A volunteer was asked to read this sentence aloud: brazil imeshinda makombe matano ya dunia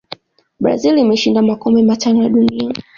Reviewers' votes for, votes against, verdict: 2, 0, accepted